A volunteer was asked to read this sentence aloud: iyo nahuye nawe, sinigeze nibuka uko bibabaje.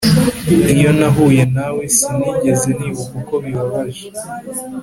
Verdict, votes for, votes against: accepted, 2, 0